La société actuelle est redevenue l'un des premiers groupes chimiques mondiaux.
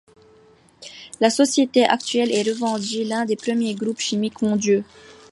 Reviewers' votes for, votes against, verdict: 0, 2, rejected